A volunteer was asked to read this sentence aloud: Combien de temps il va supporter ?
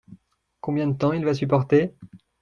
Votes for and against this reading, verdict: 2, 0, accepted